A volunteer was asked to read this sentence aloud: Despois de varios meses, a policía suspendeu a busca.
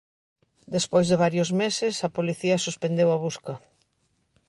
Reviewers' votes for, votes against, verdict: 2, 0, accepted